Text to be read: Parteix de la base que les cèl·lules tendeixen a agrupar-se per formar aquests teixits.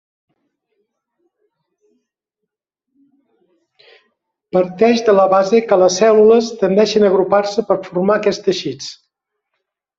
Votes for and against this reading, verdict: 0, 2, rejected